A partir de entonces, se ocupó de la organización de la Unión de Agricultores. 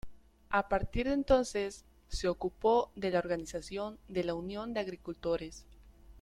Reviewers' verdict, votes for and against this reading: accepted, 2, 0